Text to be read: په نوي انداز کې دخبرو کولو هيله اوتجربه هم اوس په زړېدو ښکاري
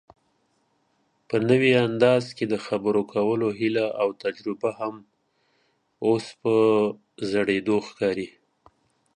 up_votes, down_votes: 3, 0